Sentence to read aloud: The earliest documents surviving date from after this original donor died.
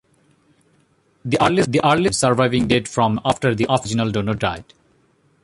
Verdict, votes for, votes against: rejected, 0, 2